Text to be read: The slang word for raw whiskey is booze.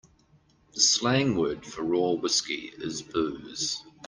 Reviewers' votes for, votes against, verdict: 2, 0, accepted